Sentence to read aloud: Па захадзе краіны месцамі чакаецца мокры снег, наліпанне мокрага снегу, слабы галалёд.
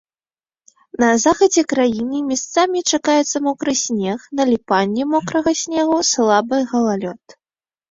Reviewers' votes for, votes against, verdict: 0, 2, rejected